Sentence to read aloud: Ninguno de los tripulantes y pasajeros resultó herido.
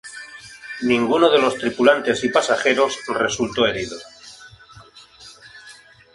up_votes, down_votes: 0, 2